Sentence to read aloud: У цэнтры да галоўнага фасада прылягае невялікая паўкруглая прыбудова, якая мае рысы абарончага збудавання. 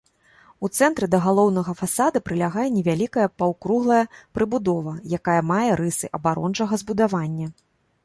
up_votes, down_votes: 2, 0